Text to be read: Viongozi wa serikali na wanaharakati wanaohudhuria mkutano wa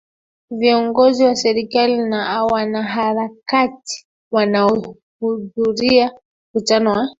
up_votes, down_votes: 2, 1